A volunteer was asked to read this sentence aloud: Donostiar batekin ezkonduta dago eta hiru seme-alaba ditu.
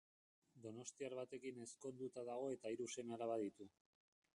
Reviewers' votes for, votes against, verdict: 1, 2, rejected